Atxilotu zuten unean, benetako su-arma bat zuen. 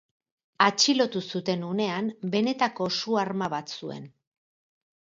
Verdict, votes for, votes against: accepted, 4, 0